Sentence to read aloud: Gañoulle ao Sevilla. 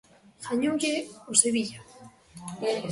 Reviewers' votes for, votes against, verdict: 2, 0, accepted